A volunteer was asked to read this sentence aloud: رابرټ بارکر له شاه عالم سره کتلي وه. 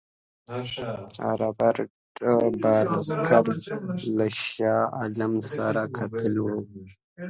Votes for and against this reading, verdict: 2, 1, accepted